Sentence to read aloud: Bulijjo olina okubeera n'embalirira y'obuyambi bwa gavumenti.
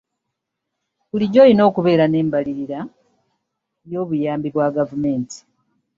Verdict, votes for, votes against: accepted, 2, 0